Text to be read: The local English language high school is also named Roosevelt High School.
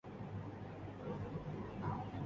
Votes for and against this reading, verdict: 0, 2, rejected